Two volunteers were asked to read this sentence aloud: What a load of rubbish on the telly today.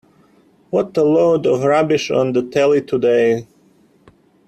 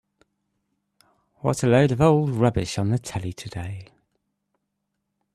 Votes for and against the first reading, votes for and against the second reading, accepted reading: 2, 0, 1, 2, first